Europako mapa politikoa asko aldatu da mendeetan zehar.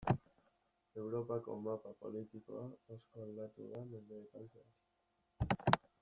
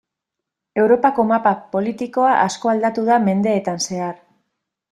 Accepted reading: first